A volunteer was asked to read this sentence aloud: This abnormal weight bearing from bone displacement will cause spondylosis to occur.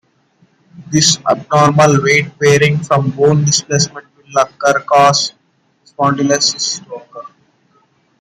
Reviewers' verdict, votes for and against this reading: rejected, 0, 2